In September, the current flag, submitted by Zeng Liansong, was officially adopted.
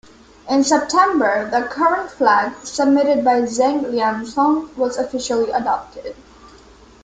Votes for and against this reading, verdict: 0, 2, rejected